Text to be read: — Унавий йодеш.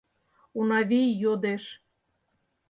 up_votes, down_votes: 4, 0